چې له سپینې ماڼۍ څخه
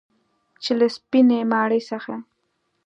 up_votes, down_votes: 2, 0